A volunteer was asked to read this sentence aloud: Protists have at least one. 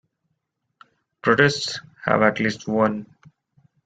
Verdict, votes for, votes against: rejected, 0, 2